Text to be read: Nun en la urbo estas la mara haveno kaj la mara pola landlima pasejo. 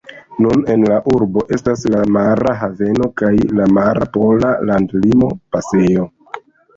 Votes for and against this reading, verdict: 1, 2, rejected